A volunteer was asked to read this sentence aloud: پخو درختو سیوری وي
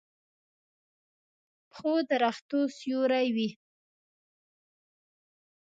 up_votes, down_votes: 2, 0